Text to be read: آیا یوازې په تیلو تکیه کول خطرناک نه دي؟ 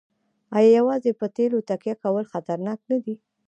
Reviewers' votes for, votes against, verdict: 1, 2, rejected